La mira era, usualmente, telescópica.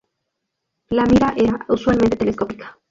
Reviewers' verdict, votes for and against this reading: accepted, 2, 0